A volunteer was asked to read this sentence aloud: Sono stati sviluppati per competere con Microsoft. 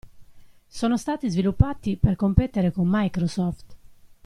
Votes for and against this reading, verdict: 2, 0, accepted